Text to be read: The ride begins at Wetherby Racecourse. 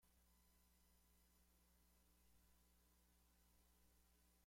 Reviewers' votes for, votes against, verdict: 0, 2, rejected